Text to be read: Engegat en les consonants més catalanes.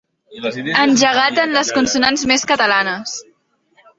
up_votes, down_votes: 0, 2